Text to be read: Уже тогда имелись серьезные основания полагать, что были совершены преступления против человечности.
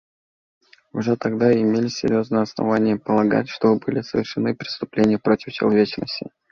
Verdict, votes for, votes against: accepted, 2, 0